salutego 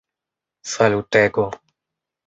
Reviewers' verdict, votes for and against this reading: rejected, 0, 2